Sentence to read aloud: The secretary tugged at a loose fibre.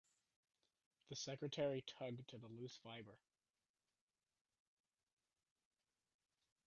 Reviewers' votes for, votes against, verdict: 0, 2, rejected